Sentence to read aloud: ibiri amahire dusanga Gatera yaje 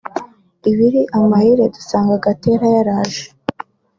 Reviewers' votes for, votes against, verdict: 1, 2, rejected